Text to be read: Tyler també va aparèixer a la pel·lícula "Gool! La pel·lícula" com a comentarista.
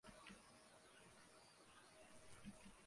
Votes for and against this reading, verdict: 0, 2, rejected